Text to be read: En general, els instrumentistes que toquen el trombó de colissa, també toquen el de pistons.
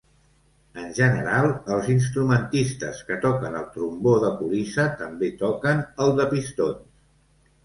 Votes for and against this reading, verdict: 2, 0, accepted